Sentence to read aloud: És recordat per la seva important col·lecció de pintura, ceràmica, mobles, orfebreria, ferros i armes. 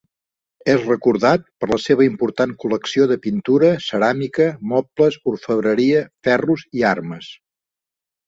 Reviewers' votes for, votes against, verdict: 2, 0, accepted